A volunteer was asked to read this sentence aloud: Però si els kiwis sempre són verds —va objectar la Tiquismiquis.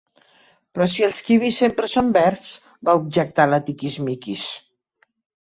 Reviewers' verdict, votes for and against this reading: accepted, 2, 0